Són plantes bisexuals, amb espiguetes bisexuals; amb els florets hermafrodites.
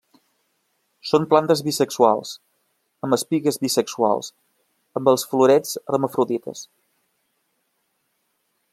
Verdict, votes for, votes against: rejected, 0, 2